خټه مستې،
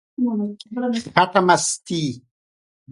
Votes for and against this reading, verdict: 1, 2, rejected